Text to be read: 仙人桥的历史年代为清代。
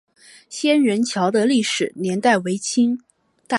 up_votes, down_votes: 2, 0